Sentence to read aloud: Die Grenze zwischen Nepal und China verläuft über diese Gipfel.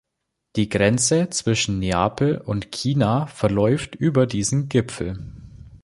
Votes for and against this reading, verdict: 1, 2, rejected